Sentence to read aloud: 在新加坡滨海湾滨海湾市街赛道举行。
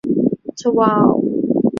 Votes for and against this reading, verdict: 0, 3, rejected